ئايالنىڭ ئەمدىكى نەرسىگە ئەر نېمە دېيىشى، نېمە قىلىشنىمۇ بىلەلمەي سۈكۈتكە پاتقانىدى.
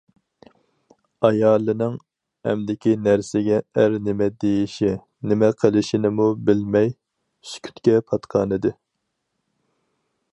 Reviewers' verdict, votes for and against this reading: rejected, 2, 2